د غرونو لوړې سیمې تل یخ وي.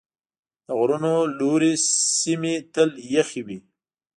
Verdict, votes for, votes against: accepted, 2, 0